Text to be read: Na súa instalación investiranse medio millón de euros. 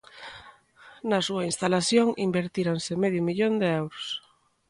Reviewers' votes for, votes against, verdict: 0, 2, rejected